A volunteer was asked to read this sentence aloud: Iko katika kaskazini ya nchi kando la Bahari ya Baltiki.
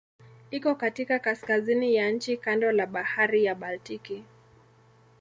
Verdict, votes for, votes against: accepted, 2, 0